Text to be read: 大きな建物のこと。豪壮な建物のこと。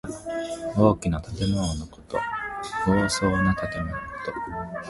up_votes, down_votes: 2, 1